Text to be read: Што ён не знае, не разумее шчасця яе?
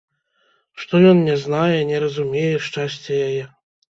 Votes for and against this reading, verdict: 3, 0, accepted